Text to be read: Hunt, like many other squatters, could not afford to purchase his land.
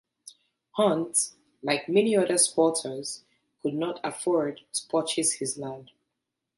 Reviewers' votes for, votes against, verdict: 0, 2, rejected